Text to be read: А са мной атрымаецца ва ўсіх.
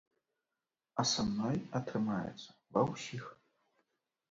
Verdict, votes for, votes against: accepted, 2, 0